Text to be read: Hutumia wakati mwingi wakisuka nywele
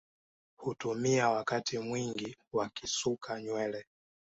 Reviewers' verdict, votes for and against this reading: accepted, 2, 0